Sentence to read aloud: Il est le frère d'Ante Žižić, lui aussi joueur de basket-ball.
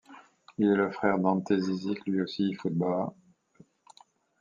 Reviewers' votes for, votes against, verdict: 0, 2, rejected